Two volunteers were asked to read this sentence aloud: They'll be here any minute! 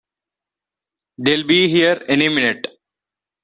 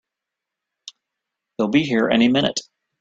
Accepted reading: second